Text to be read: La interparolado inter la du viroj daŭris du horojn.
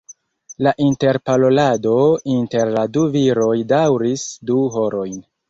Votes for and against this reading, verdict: 1, 2, rejected